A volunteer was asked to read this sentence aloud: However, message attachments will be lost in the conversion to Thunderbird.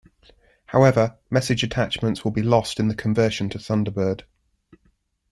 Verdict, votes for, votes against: accepted, 3, 0